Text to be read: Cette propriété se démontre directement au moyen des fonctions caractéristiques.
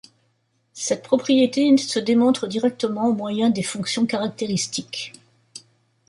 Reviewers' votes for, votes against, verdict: 2, 3, rejected